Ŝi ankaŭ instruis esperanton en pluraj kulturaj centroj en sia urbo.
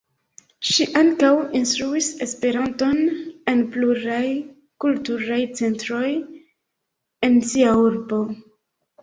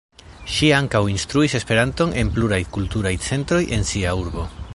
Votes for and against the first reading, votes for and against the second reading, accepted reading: 1, 2, 2, 1, second